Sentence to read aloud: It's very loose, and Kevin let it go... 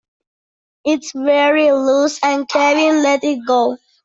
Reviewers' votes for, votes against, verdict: 2, 0, accepted